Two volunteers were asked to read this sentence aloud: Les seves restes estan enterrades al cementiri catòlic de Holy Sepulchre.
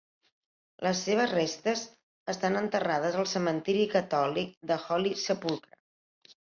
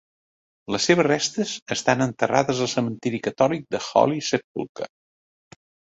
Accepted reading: second